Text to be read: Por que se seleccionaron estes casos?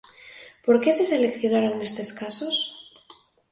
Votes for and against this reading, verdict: 2, 0, accepted